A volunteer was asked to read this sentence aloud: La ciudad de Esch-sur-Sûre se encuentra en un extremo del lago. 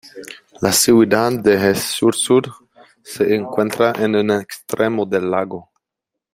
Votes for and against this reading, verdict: 2, 0, accepted